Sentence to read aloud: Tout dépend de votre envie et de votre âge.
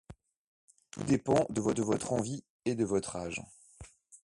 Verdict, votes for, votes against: accepted, 2, 0